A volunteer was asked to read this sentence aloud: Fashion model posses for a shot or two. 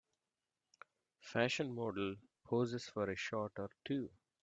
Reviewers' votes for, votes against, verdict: 2, 0, accepted